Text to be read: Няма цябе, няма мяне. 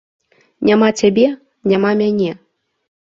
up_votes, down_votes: 2, 0